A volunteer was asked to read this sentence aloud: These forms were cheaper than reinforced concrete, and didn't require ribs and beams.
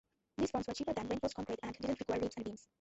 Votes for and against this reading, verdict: 0, 2, rejected